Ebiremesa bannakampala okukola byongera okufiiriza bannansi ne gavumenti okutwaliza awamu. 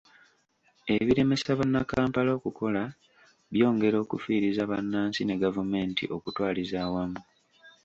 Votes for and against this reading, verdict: 2, 1, accepted